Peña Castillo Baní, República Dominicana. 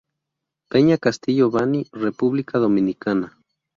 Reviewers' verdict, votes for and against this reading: rejected, 0, 2